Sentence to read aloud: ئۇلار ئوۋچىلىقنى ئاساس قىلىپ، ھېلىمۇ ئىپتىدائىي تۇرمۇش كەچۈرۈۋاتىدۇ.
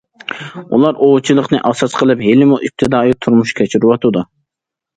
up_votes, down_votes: 2, 0